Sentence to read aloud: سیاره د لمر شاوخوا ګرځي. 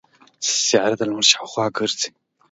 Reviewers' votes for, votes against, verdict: 2, 0, accepted